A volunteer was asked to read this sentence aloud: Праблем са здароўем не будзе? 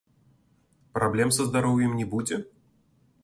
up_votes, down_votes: 2, 0